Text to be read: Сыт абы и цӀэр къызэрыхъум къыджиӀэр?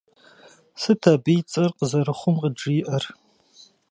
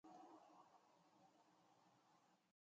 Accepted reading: first